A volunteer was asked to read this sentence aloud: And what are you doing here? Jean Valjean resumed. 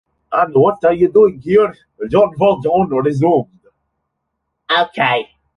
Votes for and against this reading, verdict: 0, 2, rejected